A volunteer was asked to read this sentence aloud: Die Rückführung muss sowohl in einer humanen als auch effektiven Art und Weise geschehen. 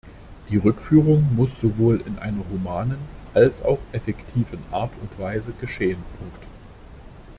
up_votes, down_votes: 0, 2